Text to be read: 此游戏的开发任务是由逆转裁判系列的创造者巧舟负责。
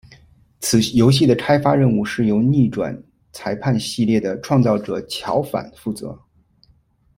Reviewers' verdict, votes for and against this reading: rejected, 0, 2